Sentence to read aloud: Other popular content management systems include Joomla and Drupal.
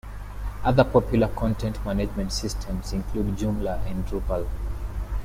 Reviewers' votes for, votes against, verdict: 2, 0, accepted